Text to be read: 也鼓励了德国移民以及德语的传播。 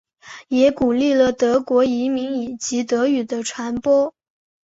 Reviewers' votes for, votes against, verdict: 2, 0, accepted